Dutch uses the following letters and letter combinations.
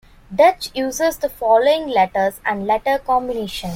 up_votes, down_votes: 1, 2